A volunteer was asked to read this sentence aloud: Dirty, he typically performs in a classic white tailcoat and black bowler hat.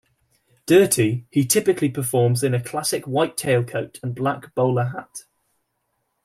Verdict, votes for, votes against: accepted, 2, 0